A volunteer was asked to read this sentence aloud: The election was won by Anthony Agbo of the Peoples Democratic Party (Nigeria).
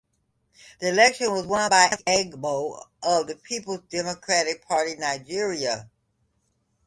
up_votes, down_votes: 0, 2